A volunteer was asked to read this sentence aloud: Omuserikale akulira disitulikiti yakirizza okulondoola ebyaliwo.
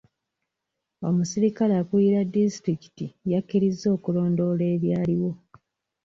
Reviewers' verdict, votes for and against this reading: accepted, 2, 0